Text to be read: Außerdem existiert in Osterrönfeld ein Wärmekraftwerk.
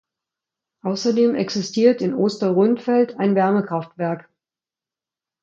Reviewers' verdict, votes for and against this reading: accepted, 2, 0